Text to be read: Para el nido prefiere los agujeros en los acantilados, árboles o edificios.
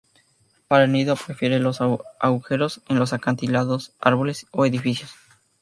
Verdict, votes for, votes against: rejected, 0, 2